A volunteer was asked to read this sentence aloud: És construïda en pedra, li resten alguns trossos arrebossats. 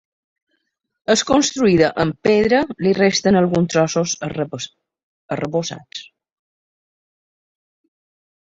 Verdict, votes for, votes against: rejected, 0, 2